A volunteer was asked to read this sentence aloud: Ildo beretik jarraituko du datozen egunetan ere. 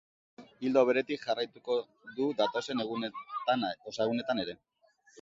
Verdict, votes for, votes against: rejected, 1, 2